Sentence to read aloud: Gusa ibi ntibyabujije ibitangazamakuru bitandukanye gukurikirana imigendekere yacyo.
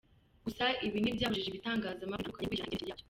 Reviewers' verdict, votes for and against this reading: rejected, 0, 2